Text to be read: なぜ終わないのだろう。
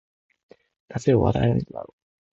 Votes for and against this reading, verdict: 1, 2, rejected